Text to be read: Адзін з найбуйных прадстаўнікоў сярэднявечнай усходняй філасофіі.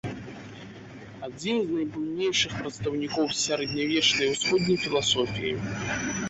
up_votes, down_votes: 1, 2